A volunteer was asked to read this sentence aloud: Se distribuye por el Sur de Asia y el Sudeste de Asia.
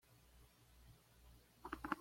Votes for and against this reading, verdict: 1, 2, rejected